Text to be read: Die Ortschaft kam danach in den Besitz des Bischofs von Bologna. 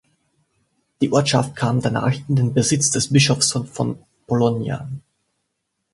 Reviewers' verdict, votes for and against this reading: rejected, 1, 2